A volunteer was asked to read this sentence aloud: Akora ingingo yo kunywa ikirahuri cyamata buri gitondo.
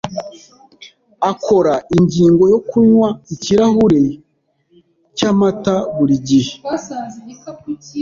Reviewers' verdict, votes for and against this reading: rejected, 1, 2